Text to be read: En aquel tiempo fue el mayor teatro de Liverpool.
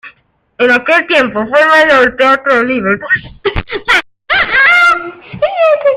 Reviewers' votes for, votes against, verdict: 1, 2, rejected